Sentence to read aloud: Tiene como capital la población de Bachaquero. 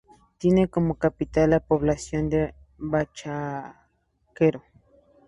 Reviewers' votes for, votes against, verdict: 2, 0, accepted